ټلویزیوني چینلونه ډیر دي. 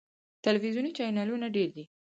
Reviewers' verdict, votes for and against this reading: accepted, 4, 0